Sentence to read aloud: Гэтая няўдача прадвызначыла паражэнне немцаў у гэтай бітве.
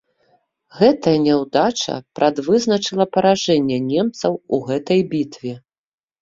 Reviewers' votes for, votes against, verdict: 2, 0, accepted